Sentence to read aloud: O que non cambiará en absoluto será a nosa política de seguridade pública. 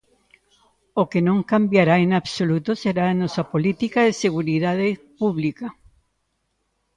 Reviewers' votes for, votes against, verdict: 1, 2, rejected